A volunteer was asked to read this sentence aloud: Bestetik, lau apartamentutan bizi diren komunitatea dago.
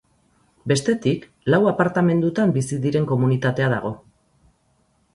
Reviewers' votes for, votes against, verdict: 0, 4, rejected